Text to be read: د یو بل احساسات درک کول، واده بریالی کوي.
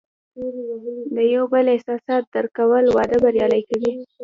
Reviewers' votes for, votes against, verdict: 1, 2, rejected